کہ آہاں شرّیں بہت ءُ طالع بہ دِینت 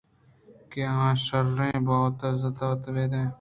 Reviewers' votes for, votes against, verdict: 0, 2, rejected